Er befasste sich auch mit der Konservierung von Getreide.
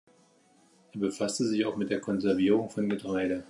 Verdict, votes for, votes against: accepted, 2, 0